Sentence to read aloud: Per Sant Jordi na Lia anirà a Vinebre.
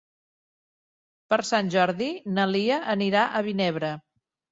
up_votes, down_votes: 2, 0